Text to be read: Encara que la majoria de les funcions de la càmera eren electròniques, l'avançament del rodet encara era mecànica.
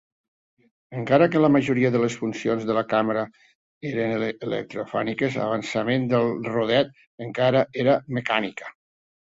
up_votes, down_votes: 1, 2